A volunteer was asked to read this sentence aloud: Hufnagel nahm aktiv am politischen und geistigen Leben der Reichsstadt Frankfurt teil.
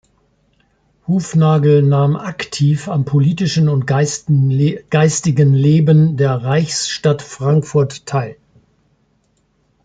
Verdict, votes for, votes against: rejected, 0, 2